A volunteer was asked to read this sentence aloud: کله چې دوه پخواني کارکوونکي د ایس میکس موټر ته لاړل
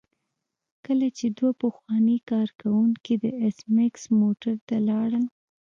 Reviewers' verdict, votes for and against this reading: accepted, 2, 1